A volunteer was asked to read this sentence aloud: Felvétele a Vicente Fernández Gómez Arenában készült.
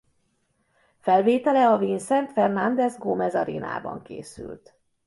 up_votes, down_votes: 0, 2